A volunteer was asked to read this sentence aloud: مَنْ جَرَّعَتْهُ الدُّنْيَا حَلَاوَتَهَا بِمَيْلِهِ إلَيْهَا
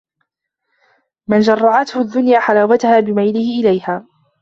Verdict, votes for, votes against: rejected, 1, 2